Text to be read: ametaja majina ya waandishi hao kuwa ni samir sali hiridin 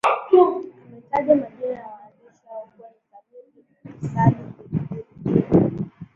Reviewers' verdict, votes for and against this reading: rejected, 0, 2